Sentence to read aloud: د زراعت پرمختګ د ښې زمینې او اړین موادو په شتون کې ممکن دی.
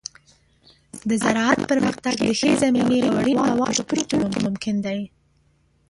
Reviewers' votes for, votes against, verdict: 0, 2, rejected